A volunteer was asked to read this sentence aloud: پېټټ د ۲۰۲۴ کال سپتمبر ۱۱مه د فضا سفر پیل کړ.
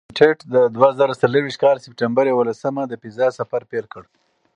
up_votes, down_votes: 0, 2